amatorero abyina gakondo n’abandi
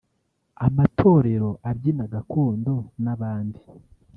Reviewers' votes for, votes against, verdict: 1, 2, rejected